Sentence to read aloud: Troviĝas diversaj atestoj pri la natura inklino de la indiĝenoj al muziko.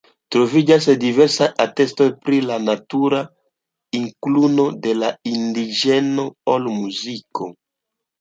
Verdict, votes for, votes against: rejected, 1, 2